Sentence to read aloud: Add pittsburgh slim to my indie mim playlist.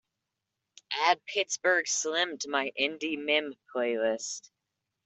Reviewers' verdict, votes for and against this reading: accepted, 2, 0